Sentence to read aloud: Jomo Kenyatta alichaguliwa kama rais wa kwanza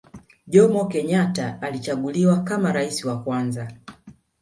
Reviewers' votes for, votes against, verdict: 2, 0, accepted